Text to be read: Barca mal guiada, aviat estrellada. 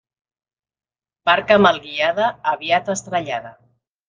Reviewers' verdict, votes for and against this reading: accepted, 2, 0